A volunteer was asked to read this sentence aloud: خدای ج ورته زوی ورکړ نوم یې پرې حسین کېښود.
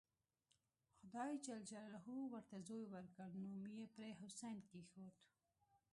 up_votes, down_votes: 1, 2